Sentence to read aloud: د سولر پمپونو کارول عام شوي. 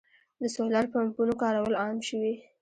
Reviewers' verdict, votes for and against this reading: rejected, 1, 2